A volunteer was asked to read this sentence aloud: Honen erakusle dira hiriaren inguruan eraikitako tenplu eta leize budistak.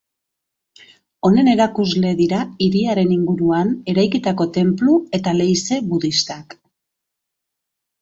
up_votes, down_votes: 2, 0